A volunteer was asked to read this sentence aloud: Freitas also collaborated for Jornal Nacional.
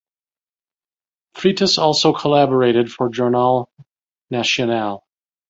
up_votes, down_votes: 1, 2